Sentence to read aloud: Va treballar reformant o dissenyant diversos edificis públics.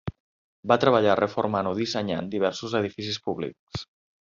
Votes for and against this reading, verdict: 3, 0, accepted